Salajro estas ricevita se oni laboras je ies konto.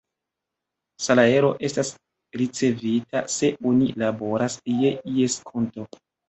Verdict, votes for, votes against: rejected, 0, 2